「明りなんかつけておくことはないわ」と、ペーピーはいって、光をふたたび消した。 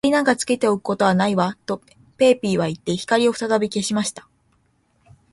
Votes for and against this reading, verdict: 3, 0, accepted